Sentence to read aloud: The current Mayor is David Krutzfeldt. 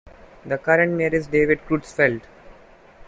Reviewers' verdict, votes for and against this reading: rejected, 1, 2